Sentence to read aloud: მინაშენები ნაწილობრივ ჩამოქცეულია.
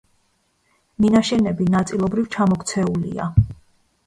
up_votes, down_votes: 1, 2